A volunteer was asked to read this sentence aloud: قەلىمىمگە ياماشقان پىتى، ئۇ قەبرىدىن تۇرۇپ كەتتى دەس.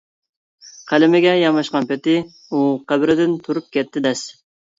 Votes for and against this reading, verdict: 0, 2, rejected